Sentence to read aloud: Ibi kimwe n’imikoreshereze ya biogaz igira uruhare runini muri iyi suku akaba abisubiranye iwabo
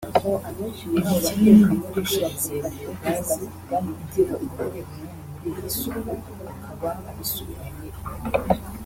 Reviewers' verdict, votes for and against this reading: rejected, 1, 3